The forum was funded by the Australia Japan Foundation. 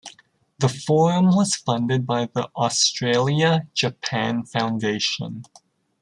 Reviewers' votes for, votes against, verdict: 3, 0, accepted